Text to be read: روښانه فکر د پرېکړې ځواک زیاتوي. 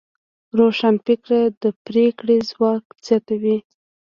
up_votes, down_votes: 0, 2